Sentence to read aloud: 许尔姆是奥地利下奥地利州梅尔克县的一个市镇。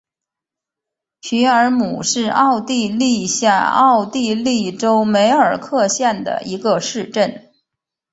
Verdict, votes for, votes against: accepted, 2, 0